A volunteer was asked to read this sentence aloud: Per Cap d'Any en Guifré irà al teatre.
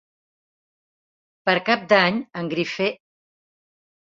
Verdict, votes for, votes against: rejected, 0, 2